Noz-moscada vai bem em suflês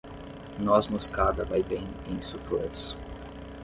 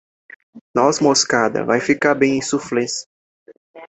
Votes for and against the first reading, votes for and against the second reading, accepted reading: 10, 0, 0, 2, first